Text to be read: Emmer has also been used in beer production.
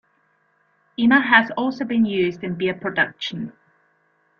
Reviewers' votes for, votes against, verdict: 2, 0, accepted